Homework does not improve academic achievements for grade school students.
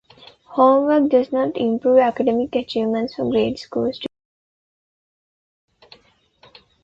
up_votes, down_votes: 0, 2